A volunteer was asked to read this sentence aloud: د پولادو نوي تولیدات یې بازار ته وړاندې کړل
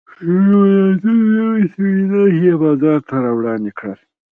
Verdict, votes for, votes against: rejected, 0, 2